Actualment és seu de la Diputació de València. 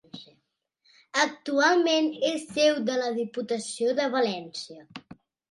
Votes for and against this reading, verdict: 2, 0, accepted